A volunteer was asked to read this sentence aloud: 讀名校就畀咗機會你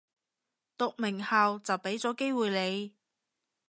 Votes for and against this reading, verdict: 2, 0, accepted